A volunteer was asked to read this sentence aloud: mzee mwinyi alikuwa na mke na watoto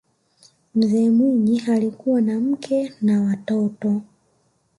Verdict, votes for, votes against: rejected, 0, 2